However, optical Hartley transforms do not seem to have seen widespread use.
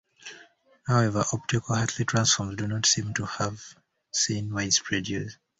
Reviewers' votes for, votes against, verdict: 2, 1, accepted